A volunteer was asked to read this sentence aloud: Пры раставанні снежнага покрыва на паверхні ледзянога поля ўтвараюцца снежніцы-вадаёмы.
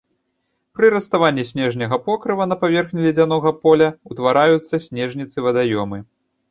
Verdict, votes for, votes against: rejected, 0, 2